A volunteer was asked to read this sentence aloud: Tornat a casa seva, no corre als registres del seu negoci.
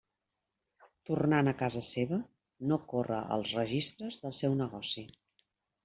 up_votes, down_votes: 2, 0